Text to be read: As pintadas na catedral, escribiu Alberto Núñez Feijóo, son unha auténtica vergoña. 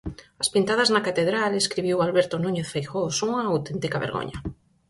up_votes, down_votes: 4, 0